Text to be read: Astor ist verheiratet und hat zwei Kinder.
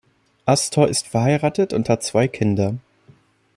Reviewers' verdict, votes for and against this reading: accepted, 2, 1